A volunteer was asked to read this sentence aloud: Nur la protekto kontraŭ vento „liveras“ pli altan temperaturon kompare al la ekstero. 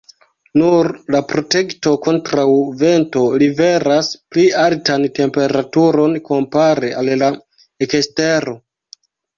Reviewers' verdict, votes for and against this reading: accepted, 2, 0